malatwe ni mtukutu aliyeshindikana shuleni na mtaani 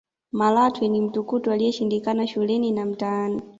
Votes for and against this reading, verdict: 2, 0, accepted